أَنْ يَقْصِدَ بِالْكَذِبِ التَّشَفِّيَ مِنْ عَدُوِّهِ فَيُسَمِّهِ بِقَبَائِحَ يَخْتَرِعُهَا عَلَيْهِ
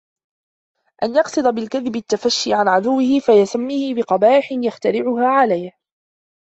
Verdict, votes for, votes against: rejected, 0, 2